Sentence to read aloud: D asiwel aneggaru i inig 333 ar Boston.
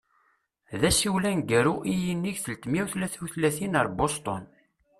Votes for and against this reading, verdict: 0, 2, rejected